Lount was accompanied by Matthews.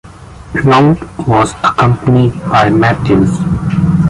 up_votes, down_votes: 2, 0